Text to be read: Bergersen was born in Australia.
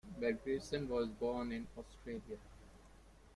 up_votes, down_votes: 2, 1